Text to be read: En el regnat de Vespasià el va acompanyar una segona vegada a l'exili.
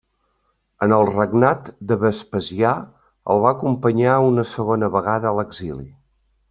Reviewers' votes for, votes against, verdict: 3, 0, accepted